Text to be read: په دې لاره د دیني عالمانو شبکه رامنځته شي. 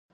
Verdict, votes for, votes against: rejected, 0, 2